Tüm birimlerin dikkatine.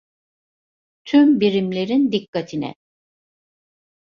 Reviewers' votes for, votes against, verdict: 2, 0, accepted